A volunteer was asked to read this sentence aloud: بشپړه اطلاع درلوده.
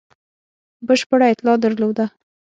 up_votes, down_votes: 6, 0